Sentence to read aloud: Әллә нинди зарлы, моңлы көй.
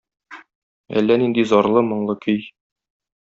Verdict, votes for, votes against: accepted, 2, 0